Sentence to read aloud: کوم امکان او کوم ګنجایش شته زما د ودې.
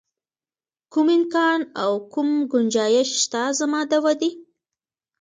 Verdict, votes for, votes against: accepted, 2, 1